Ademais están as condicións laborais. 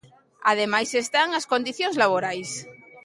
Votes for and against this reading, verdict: 2, 0, accepted